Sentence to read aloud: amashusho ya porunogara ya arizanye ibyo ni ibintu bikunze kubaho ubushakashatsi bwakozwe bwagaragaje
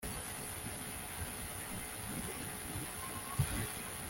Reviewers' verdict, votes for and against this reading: rejected, 0, 2